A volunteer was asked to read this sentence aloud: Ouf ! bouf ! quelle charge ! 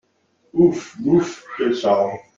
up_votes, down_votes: 2, 0